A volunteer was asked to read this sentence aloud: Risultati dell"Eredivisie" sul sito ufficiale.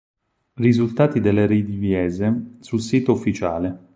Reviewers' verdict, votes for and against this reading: rejected, 0, 4